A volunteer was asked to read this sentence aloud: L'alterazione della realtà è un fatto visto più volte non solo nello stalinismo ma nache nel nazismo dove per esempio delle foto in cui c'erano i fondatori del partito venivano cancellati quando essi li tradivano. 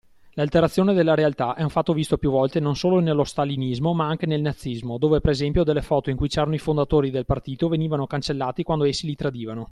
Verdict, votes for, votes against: accepted, 2, 0